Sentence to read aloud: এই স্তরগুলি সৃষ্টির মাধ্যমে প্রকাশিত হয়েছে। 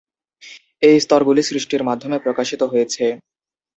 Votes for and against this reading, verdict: 2, 0, accepted